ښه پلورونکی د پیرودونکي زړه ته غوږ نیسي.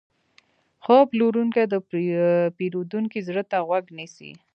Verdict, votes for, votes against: rejected, 1, 2